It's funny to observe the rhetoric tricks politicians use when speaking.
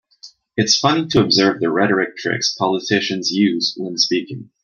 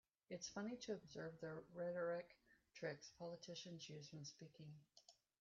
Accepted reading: first